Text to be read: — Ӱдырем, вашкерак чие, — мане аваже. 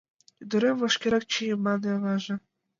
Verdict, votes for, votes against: accepted, 2, 0